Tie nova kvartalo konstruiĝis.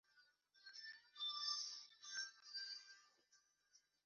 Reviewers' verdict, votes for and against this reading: rejected, 0, 2